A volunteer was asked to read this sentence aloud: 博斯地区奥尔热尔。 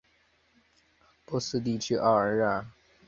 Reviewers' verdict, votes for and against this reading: rejected, 1, 3